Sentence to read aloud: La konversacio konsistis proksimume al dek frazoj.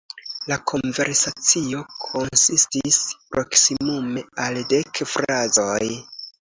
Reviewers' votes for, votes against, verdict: 2, 0, accepted